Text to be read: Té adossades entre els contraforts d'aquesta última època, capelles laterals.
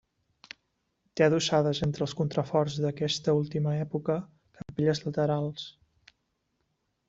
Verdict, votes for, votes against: accepted, 2, 0